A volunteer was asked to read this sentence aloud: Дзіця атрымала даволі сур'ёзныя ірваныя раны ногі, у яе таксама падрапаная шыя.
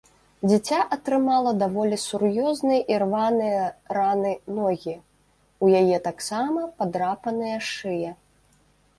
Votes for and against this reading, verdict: 1, 2, rejected